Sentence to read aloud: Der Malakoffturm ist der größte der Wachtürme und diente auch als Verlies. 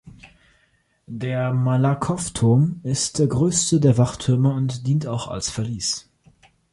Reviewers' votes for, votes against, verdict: 1, 2, rejected